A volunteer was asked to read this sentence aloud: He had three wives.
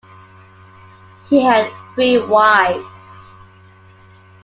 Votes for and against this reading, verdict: 2, 1, accepted